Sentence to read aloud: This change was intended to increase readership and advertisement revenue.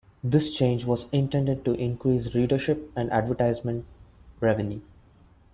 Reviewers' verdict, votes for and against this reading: accepted, 2, 0